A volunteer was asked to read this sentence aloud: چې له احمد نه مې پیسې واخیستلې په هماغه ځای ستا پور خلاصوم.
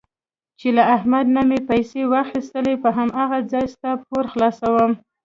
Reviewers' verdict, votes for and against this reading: rejected, 0, 2